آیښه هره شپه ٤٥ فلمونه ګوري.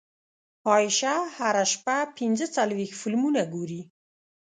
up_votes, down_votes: 0, 2